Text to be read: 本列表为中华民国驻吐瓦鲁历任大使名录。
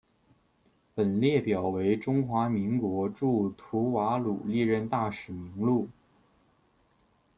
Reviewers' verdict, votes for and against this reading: accepted, 2, 0